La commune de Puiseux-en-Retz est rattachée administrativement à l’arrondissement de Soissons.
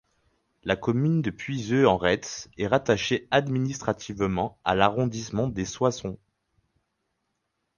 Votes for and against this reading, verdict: 2, 4, rejected